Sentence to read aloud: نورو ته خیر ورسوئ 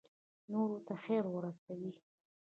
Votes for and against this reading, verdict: 1, 2, rejected